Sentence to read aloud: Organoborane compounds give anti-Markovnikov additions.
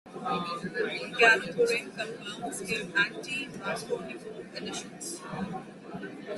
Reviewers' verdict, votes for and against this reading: rejected, 0, 2